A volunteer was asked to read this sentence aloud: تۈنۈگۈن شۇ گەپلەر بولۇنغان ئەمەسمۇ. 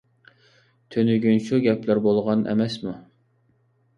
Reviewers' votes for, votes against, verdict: 1, 2, rejected